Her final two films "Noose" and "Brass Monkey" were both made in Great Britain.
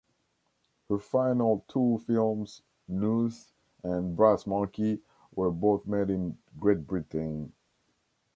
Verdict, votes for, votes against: accepted, 2, 0